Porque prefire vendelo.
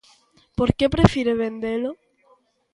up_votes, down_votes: 2, 0